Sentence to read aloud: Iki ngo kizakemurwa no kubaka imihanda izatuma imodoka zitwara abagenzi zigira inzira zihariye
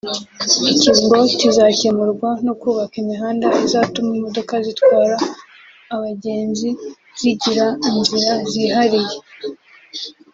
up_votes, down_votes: 2, 0